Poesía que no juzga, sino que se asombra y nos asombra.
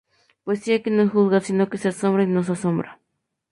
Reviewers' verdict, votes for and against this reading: accepted, 2, 0